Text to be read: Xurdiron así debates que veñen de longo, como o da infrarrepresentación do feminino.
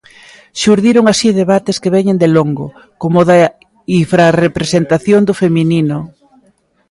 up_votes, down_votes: 0, 2